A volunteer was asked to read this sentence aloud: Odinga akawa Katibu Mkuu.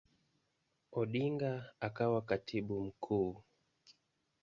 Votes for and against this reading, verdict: 1, 2, rejected